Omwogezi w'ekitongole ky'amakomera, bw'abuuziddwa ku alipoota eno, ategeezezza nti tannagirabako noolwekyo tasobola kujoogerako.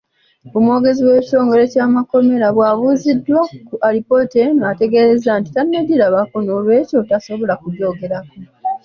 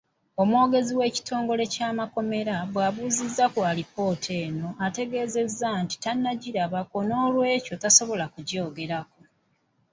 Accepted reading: first